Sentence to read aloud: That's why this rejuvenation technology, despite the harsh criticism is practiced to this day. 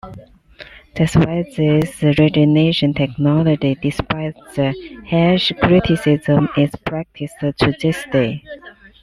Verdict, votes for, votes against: accepted, 2, 1